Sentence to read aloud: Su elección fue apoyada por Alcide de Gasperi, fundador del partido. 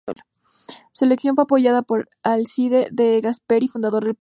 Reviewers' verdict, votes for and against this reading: rejected, 0, 2